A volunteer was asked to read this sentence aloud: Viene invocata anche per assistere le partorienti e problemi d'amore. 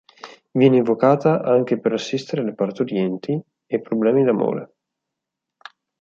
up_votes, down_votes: 4, 0